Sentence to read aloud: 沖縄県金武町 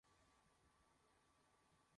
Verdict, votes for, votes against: rejected, 1, 2